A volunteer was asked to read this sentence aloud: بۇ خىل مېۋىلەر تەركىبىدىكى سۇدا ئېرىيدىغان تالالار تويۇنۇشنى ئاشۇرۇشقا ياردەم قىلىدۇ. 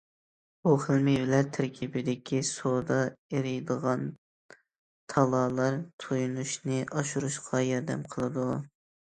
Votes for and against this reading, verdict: 2, 0, accepted